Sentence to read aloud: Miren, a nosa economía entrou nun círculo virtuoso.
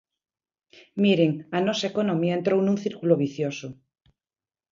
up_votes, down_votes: 1, 2